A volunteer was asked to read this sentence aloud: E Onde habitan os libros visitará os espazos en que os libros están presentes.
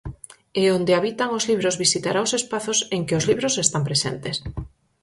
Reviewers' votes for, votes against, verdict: 6, 0, accepted